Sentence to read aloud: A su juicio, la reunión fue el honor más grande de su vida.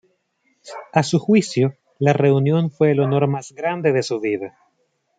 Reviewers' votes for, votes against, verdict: 2, 0, accepted